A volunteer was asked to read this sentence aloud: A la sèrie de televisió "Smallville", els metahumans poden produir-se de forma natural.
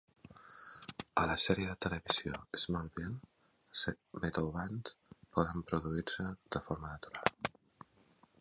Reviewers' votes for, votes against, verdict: 0, 3, rejected